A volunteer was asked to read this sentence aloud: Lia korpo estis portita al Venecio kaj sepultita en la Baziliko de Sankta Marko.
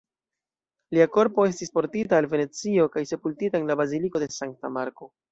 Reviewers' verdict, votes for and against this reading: rejected, 0, 2